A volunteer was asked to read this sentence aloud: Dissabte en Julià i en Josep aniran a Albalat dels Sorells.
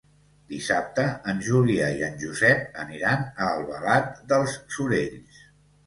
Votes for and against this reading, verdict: 2, 0, accepted